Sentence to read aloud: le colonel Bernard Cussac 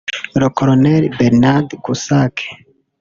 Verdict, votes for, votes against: rejected, 0, 2